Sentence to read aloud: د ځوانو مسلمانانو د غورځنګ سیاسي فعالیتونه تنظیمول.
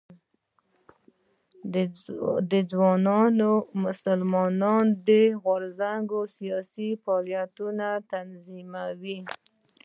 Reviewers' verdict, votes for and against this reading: rejected, 0, 3